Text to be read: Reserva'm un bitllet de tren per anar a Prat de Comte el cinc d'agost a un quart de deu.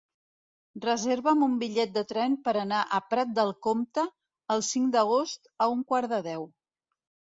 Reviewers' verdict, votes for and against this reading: rejected, 0, 2